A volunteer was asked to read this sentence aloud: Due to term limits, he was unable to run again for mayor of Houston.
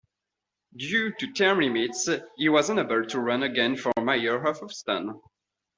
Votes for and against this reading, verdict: 2, 1, accepted